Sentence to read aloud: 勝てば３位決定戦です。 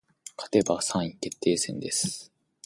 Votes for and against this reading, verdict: 0, 2, rejected